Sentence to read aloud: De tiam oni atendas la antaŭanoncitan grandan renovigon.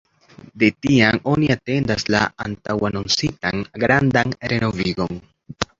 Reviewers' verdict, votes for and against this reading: accepted, 2, 0